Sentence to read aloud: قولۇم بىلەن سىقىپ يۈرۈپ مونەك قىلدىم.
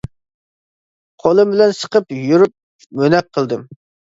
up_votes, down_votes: 2, 1